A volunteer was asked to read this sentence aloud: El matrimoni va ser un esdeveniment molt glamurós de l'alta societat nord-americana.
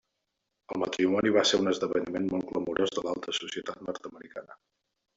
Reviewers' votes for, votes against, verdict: 2, 1, accepted